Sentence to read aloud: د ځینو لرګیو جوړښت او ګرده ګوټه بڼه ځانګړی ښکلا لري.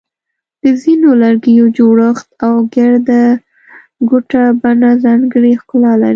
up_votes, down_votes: 0, 2